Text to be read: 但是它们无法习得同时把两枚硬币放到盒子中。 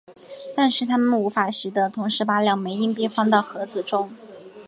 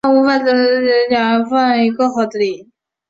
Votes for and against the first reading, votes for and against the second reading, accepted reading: 4, 0, 0, 2, first